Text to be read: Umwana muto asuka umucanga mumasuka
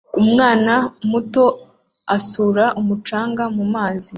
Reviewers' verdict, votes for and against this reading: accepted, 2, 1